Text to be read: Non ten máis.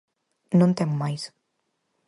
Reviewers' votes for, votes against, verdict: 4, 0, accepted